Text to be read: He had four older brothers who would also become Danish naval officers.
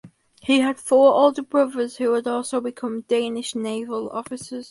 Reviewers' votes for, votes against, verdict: 4, 0, accepted